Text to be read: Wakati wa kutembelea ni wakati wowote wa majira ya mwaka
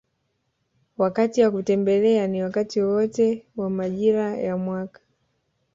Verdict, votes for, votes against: accepted, 3, 0